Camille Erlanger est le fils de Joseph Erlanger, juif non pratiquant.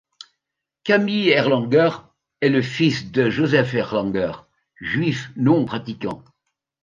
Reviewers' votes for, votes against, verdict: 3, 0, accepted